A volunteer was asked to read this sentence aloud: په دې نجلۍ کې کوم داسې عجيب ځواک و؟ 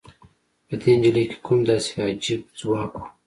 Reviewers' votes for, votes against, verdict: 2, 1, accepted